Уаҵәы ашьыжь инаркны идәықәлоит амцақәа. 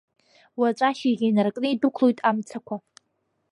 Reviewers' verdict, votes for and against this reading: rejected, 0, 2